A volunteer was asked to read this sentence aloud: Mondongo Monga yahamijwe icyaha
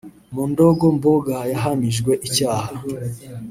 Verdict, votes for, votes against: rejected, 0, 2